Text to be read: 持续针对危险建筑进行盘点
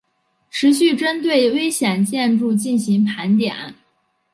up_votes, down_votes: 4, 3